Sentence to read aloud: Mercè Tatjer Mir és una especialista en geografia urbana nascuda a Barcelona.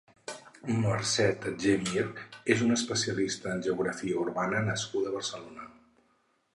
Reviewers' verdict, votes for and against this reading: accepted, 4, 0